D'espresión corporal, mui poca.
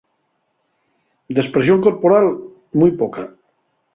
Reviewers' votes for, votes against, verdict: 2, 0, accepted